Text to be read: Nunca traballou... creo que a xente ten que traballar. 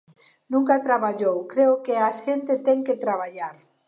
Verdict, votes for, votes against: accepted, 2, 1